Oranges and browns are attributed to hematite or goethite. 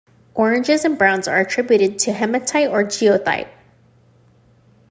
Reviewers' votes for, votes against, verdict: 0, 2, rejected